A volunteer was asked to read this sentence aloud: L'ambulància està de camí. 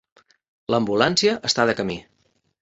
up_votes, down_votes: 3, 0